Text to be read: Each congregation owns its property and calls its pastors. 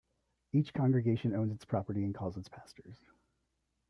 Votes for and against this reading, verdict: 0, 2, rejected